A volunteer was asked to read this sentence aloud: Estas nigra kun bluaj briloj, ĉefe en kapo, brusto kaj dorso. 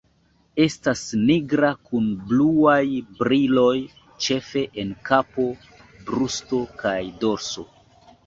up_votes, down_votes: 2, 0